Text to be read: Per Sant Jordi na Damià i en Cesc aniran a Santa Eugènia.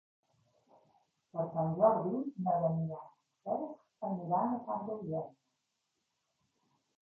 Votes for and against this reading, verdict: 2, 1, accepted